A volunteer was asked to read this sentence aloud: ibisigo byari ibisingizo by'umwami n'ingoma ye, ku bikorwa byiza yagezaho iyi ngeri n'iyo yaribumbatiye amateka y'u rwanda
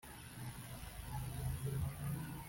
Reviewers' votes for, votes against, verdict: 0, 3, rejected